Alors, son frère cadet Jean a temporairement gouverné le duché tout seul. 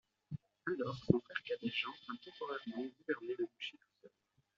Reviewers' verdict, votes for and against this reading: rejected, 0, 2